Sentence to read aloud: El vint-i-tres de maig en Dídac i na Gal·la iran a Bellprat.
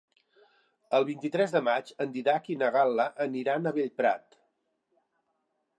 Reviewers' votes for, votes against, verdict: 1, 2, rejected